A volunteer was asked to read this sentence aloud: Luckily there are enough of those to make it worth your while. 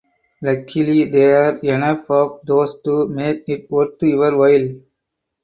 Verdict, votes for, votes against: rejected, 0, 4